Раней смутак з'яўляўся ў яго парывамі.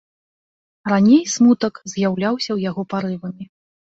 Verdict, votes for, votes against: accepted, 2, 0